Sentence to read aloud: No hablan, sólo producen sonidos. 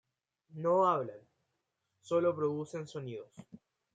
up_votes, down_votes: 2, 0